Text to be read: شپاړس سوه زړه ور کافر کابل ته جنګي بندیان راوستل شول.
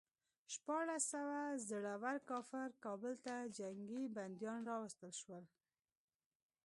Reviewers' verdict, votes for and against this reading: accepted, 2, 0